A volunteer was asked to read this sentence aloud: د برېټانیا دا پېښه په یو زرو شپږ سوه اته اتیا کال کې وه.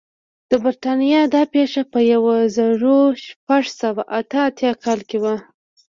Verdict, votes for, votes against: accepted, 2, 0